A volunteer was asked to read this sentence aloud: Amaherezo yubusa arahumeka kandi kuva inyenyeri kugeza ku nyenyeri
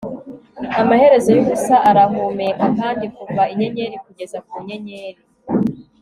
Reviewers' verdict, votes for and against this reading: accepted, 2, 0